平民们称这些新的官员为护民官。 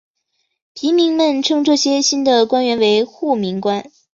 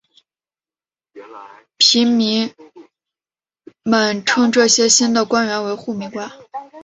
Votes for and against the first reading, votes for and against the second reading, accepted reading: 2, 0, 0, 2, first